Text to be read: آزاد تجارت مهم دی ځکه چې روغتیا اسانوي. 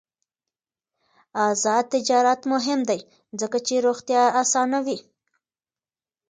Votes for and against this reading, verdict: 2, 0, accepted